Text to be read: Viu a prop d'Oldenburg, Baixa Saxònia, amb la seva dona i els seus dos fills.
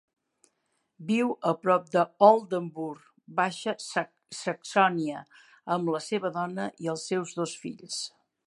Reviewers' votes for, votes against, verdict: 2, 3, rejected